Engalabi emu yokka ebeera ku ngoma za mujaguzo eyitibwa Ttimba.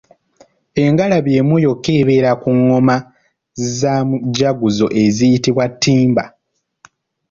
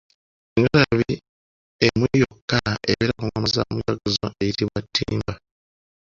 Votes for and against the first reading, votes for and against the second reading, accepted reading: 2, 1, 0, 3, first